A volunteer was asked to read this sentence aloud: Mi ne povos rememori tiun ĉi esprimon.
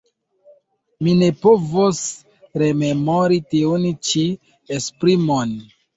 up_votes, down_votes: 1, 2